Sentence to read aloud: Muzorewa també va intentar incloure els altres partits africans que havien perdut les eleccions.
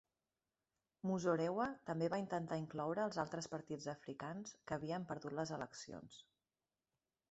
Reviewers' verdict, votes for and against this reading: accepted, 2, 1